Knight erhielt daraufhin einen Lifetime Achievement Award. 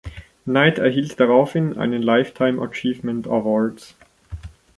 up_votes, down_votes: 0, 2